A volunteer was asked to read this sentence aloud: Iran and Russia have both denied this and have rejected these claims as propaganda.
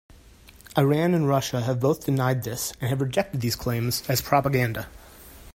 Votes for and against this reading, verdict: 2, 0, accepted